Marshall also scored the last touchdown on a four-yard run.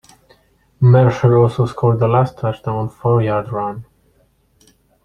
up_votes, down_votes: 0, 2